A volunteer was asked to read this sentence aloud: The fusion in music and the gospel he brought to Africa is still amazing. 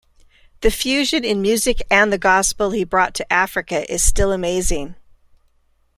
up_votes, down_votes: 2, 0